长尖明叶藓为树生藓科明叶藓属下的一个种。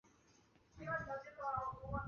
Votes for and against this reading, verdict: 1, 2, rejected